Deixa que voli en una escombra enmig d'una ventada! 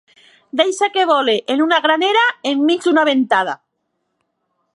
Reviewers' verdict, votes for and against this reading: rejected, 1, 2